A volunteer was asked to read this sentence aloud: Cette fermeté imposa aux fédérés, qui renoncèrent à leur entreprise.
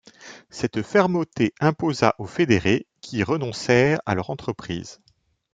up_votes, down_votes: 0, 2